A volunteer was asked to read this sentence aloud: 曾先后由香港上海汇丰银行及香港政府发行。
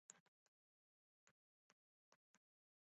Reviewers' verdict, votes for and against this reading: rejected, 0, 5